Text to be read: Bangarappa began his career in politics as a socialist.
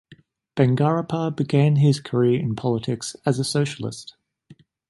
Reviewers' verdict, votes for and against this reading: accepted, 2, 0